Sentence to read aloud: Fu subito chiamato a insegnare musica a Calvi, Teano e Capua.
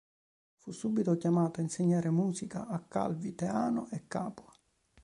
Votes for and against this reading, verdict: 2, 0, accepted